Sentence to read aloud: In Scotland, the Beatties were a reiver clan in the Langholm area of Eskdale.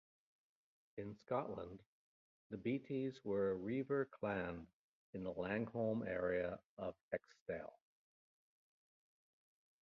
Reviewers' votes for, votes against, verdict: 1, 2, rejected